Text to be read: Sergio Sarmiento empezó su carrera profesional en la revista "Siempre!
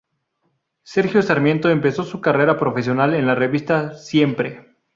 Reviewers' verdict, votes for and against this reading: rejected, 2, 2